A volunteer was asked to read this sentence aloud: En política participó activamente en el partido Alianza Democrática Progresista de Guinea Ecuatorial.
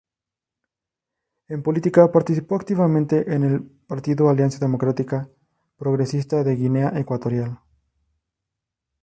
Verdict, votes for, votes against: rejected, 0, 2